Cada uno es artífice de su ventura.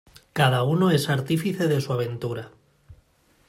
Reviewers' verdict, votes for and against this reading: rejected, 0, 2